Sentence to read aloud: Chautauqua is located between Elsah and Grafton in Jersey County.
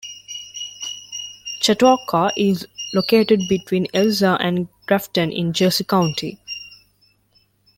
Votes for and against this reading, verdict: 2, 0, accepted